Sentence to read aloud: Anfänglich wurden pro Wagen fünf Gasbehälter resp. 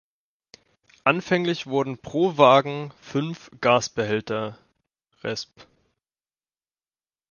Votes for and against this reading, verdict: 1, 2, rejected